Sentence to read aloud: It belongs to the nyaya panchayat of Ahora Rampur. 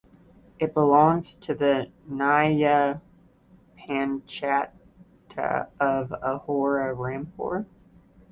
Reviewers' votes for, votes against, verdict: 1, 2, rejected